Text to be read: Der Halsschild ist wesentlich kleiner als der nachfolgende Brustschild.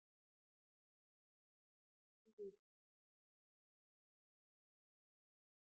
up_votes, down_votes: 0, 2